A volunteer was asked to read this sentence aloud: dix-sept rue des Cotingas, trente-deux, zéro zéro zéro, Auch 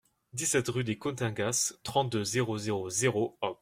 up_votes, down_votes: 2, 0